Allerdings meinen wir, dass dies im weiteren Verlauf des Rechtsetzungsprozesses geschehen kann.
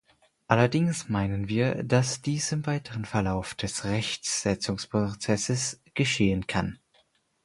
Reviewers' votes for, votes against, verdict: 4, 0, accepted